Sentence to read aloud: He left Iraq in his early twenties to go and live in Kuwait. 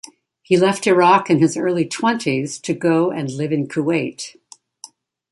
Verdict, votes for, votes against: accepted, 2, 0